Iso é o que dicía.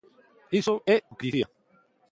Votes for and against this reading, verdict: 0, 2, rejected